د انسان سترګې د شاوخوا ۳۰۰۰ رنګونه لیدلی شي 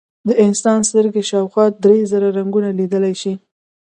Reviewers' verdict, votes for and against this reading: rejected, 0, 2